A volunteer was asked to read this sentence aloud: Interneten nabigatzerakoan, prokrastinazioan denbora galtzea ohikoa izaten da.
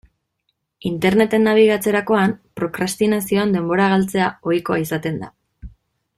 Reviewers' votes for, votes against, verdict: 2, 0, accepted